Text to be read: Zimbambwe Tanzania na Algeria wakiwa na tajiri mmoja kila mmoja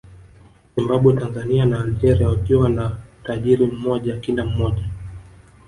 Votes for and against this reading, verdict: 0, 2, rejected